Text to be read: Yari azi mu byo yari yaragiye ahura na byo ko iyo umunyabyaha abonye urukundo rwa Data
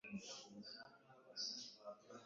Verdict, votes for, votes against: rejected, 1, 2